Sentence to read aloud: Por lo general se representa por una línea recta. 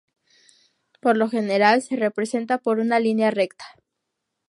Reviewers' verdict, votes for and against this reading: accepted, 4, 0